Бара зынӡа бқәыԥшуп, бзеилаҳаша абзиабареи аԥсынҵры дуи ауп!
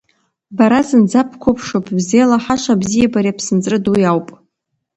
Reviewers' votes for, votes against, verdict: 2, 1, accepted